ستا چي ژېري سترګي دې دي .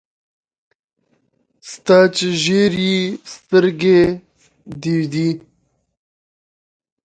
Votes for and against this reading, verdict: 1, 2, rejected